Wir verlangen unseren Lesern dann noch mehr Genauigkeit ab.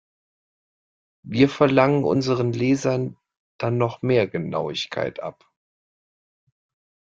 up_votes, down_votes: 2, 0